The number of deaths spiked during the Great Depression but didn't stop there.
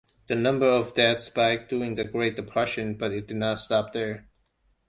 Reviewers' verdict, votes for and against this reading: accepted, 2, 0